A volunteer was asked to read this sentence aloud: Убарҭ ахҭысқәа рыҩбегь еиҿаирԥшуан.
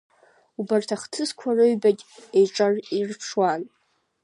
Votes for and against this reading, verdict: 0, 2, rejected